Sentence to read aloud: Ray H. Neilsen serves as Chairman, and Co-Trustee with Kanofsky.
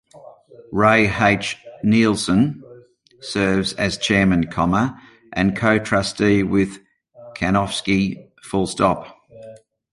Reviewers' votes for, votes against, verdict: 0, 2, rejected